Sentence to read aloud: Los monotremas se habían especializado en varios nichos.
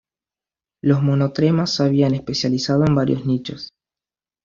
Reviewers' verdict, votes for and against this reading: accepted, 2, 0